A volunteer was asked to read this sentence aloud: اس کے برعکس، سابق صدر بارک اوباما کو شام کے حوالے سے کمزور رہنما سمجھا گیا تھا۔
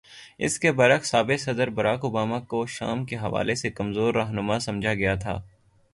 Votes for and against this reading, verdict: 0, 3, rejected